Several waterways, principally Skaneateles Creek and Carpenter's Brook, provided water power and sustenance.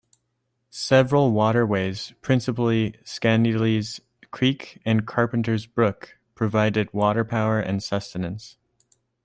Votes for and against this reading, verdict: 2, 0, accepted